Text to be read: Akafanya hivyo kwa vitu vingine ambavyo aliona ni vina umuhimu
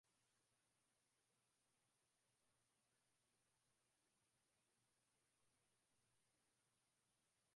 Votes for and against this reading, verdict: 0, 2, rejected